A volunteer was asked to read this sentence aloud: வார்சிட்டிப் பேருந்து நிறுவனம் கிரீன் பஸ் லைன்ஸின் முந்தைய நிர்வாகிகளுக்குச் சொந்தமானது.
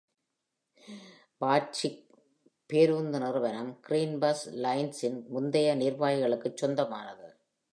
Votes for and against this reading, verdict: 0, 2, rejected